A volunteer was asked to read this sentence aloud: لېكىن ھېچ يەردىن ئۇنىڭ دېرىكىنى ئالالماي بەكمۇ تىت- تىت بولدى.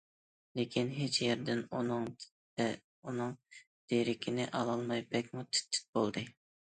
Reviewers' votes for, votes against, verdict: 0, 2, rejected